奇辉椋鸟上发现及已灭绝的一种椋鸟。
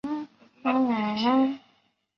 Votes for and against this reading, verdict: 0, 2, rejected